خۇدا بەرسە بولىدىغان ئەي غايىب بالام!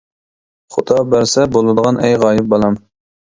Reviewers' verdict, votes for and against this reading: accepted, 2, 0